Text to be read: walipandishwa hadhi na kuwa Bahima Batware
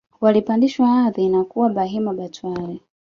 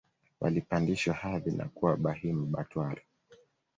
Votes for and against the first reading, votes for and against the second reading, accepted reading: 1, 2, 2, 0, second